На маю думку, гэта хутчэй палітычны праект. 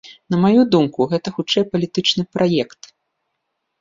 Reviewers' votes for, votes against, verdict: 2, 0, accepted